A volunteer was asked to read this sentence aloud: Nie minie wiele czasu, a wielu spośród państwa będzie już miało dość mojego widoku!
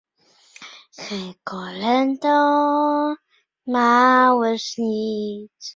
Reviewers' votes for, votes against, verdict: 0, 2, rejected